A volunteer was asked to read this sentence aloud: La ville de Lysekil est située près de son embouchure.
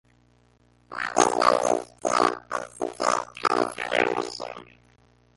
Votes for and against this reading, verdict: 0, 2, rejected